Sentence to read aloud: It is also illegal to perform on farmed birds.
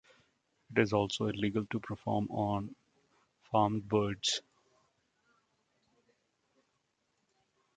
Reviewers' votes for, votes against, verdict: 2, 0, accepted